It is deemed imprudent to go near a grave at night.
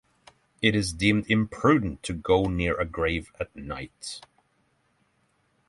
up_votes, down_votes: 6, 0